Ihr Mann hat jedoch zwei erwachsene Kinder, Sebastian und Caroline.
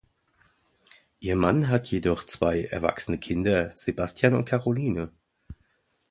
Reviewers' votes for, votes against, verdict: 2, 0, accepted